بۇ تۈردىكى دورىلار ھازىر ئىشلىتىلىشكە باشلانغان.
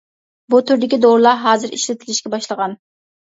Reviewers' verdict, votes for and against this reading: rejected, 0, 2